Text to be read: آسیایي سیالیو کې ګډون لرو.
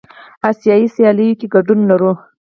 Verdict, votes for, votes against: accepted, 4, 0